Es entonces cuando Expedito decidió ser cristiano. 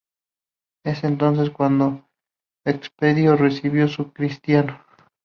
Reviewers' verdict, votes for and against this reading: rejected, 0, 4